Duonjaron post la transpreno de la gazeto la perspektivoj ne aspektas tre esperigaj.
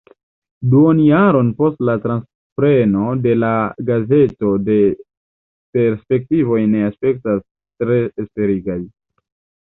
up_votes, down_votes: 1, 2